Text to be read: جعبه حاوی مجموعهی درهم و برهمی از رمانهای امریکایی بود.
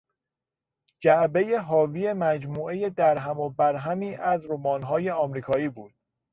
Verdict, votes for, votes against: rejected, 0, 2